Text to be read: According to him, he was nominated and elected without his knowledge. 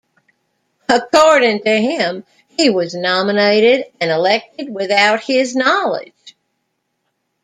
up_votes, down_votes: 1, 2